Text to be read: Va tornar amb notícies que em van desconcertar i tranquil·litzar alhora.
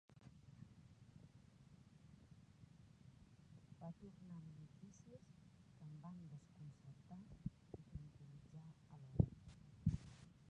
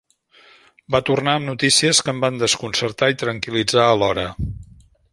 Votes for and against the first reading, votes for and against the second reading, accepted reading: 0, 2, 2, 0, second